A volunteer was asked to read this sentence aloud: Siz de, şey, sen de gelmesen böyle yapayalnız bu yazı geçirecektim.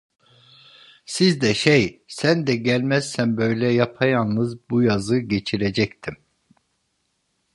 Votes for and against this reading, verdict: 1, 2, rejected